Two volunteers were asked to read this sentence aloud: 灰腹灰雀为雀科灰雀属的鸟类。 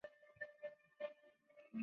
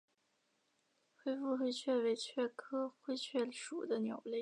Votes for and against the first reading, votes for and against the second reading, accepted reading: 0, 2, 3, 1, second